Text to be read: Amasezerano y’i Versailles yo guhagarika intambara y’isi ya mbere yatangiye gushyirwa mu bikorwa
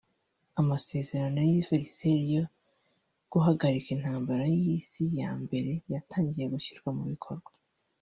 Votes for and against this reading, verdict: 1, 2, rejected